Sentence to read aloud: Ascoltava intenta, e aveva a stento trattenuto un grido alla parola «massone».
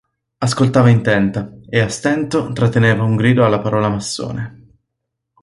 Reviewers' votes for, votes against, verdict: 0, 2, rejected